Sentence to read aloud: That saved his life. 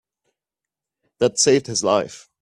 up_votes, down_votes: 2, 1